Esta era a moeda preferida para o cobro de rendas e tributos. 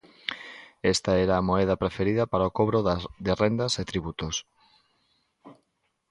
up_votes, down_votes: 0, 2